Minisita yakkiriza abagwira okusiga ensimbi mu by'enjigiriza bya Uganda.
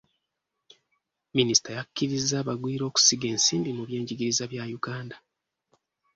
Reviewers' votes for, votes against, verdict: 2, 0, accepted